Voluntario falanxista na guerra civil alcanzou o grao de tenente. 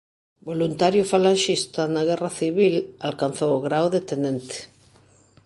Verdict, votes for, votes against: accepted, 2, 0